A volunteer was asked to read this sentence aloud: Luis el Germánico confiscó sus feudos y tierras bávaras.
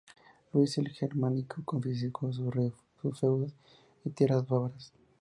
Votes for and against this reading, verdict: 2, 0, accepted